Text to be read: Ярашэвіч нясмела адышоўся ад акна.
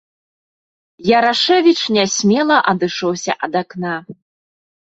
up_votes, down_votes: 2, 0